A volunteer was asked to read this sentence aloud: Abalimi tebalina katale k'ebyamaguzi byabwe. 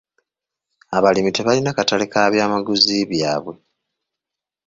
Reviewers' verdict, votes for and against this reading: accepted, 2, 0